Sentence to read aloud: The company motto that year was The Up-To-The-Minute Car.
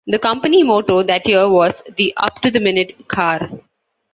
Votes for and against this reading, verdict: 2, 0, accepted